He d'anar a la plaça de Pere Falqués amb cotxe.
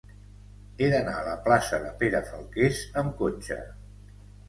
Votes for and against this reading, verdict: 2, 0, accepted